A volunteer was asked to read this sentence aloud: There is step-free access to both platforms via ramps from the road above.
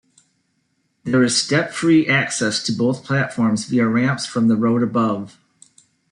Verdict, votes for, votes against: accepted, 2, 0